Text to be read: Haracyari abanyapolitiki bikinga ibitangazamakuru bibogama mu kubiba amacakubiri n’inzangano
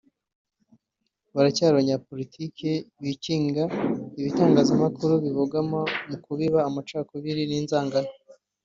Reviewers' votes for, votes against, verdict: 3, 0, accepted